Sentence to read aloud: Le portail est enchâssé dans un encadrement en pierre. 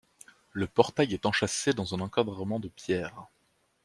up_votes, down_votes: 0, 2